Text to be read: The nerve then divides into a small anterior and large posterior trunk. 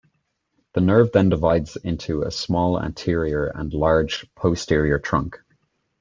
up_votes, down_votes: 2, 0